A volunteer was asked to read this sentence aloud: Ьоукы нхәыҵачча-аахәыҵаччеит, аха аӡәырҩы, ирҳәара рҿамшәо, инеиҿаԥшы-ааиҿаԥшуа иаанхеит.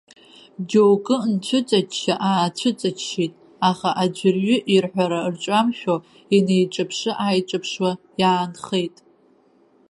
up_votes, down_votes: 1, 2